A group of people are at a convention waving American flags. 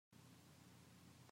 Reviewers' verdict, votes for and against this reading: rejected, 0, 3